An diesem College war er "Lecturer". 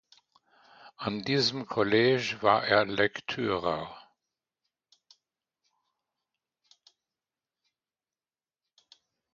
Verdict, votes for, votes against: rejected, 0, 2